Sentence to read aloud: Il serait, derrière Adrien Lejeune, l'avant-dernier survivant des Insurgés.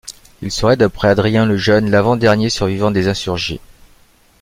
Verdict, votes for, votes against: rejected, 0, 2